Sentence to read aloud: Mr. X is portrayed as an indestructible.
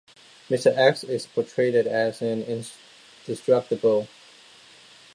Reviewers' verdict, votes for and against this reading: rejected, 0, 2